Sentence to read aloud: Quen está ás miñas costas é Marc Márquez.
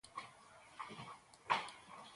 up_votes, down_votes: 0, 2